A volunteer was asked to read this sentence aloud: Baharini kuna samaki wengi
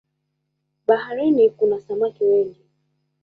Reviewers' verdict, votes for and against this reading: accepted, 2, 1